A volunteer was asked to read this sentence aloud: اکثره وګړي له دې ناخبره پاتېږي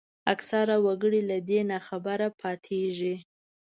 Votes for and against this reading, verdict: 2, 0, accepted